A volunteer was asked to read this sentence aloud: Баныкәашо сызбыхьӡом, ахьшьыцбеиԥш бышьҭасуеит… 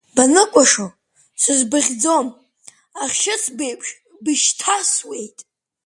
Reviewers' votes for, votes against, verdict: 2, 0, accepted